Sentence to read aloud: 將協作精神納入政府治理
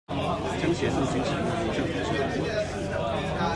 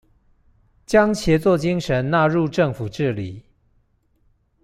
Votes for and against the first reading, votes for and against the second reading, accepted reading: 1, 2, 2, 0, second